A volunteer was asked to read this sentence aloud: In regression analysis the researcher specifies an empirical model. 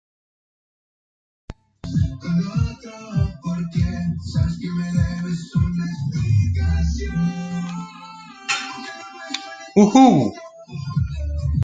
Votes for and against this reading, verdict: 0, 2, rejected